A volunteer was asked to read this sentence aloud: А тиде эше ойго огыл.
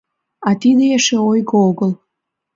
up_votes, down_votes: 2, 0